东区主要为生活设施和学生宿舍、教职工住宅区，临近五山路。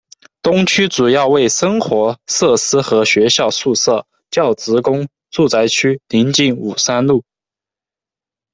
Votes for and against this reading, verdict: 0, 2, rejected